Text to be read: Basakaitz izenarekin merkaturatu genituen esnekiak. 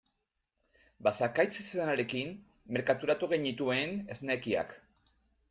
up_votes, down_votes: 2, 0